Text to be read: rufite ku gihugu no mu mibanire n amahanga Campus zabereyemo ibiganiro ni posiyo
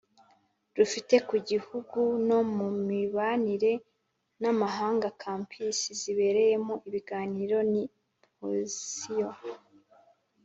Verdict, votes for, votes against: accepted, 2, 0